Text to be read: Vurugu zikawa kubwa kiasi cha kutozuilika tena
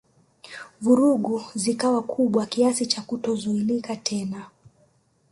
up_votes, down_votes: 1, 2